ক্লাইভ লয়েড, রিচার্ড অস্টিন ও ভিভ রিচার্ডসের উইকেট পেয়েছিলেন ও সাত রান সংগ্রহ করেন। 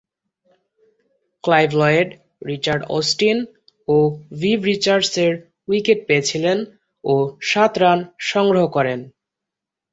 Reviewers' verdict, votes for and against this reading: accepted, 2, 0